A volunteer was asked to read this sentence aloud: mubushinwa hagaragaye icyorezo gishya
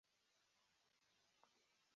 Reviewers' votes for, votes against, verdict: 0, 2, rejected